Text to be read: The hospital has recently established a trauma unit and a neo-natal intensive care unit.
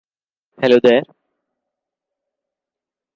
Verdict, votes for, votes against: rejected, 0, 2